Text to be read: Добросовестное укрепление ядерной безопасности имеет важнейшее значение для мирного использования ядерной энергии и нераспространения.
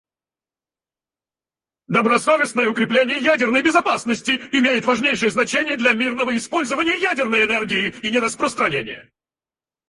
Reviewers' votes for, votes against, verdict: 2, 4, rejected